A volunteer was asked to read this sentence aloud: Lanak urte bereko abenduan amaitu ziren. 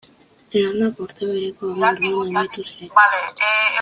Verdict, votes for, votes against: rejected, 0, 2